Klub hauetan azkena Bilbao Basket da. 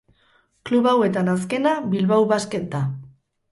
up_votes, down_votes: 0, 2